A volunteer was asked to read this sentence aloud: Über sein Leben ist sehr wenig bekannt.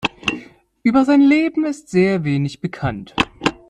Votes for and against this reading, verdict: 2, 0, accepted